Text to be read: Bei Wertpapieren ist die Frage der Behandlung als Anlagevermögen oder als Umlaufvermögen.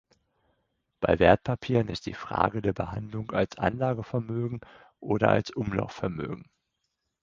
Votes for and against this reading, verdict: 4, 0, accepted